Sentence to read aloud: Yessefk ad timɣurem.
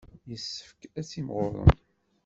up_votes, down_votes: 2, 1